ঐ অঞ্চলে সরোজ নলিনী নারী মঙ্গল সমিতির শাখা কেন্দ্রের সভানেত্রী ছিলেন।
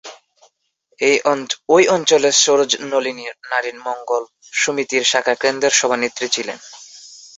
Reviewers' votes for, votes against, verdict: 1, 2, rejected